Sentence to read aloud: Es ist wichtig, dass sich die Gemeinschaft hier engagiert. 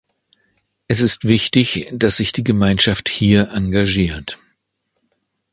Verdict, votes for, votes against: accepted, 2, 0